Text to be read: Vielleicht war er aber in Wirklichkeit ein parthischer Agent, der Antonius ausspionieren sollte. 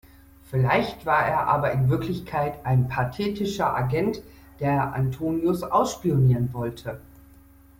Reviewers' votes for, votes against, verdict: 2, 1, accepted